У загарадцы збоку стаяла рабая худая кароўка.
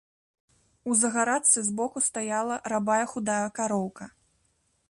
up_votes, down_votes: 1, 2